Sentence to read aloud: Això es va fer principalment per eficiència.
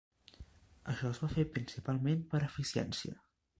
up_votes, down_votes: 3, 0